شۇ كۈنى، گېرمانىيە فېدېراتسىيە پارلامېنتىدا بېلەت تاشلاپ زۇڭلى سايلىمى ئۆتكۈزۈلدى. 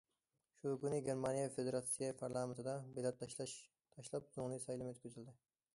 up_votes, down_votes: 0, 2